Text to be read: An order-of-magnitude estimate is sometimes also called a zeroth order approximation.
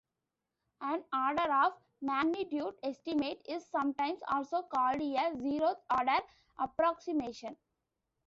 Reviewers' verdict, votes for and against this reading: rejected, 0, 2